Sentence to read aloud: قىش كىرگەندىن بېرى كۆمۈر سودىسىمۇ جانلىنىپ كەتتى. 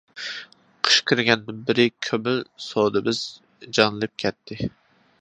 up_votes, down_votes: 0, 2